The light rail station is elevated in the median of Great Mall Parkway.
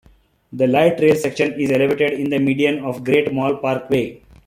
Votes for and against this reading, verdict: 2, 0, accepted